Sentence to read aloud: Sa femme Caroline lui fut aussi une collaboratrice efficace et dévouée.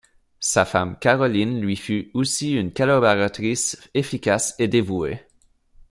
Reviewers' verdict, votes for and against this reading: rejected, 2, 3